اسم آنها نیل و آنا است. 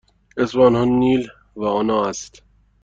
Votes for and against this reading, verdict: 2, 0, accepted